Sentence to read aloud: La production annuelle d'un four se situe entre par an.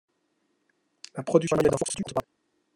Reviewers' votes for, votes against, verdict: 0, 2, rejected